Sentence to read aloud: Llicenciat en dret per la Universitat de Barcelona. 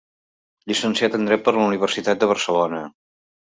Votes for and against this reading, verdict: 3, 0, accepted